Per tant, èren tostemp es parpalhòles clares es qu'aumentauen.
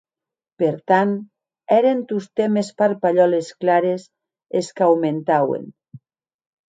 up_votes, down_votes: 2, 0